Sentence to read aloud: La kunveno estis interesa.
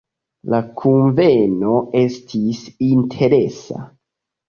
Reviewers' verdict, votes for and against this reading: accepted, 2, 0